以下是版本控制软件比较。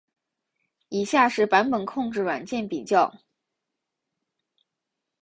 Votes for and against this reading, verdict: 2, 0, accepted